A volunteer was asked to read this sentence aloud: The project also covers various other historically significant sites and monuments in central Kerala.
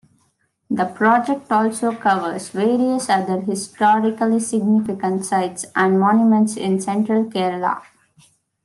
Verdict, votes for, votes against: accepted, 2, 0